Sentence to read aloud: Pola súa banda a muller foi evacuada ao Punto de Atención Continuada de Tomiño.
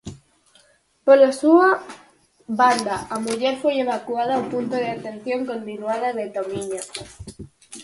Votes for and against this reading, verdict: 4, 0, accepted